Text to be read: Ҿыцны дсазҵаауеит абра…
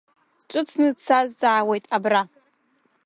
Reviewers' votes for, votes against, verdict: 1, 2, rejected